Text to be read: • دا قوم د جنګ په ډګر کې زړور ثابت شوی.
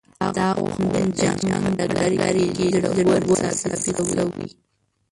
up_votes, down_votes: 1, 2